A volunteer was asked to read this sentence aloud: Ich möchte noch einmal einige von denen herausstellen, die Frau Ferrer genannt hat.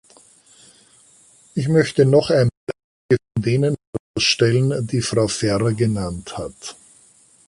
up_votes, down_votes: 0, 2